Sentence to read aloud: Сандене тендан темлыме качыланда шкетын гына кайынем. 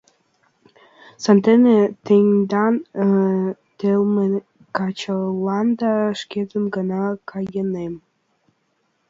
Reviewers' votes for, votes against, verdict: 1, 2, rejected